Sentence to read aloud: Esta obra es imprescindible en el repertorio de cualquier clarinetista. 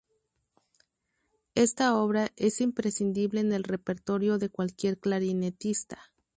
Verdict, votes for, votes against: accepted, 4, 0